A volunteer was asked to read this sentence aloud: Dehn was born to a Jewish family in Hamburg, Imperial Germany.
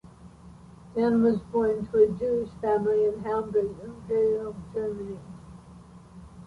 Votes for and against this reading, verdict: 2, 0, accepted